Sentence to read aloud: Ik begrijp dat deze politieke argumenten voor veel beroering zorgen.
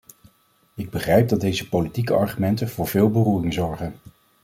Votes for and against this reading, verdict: 2, 0, accepted